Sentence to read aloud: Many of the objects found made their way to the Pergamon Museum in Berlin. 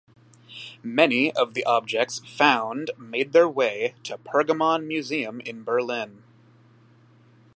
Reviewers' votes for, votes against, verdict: 1, 2, rejected